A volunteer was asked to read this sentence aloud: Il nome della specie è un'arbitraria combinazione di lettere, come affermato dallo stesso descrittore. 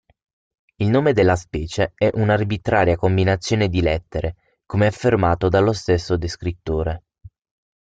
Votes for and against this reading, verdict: 6, 0, accepted